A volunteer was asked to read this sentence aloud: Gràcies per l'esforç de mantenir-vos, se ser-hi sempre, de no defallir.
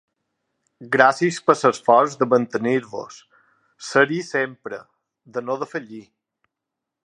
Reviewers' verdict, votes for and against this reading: rejected, 1, 4